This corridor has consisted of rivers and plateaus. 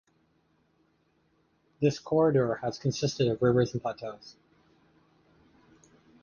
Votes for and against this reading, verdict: 2, 0, accepted